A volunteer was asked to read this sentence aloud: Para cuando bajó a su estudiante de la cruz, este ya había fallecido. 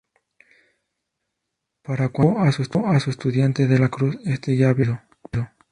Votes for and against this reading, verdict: 2, 0, accepted